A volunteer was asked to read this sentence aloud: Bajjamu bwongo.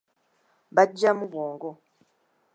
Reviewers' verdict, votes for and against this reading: accepted, 2, 0